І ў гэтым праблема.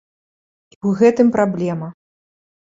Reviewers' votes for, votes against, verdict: 1, 2, rejected